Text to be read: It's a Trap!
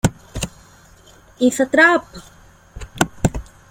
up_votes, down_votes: 1, 2